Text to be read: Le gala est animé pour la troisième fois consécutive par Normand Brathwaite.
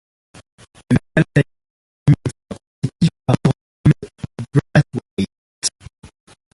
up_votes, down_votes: 0, 2